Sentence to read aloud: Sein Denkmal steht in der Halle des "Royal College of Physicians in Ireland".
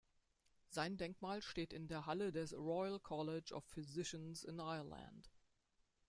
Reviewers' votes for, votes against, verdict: 1, 2, rejected